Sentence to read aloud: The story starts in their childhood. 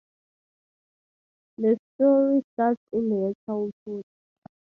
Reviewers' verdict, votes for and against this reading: rejected, 2, 2